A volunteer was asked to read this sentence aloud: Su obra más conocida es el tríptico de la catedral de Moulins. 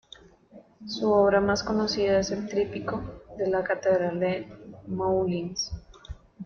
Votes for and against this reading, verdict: 3, 1, accepted